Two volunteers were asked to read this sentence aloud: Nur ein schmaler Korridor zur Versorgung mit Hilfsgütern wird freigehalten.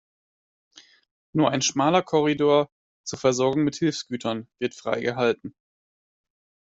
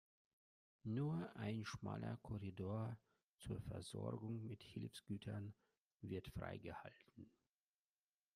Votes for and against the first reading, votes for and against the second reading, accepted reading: 2, 0, 1, 2, first